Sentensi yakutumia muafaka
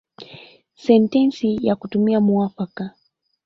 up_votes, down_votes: 0, 2